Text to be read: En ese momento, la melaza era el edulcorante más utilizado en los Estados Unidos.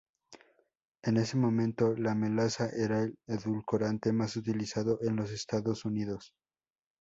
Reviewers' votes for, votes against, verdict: 4, 0, accepted